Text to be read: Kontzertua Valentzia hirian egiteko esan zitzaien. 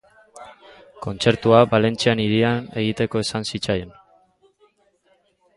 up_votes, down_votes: 0, 2